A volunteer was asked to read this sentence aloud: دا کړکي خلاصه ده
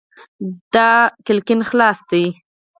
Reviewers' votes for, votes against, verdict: 0, 4, rejected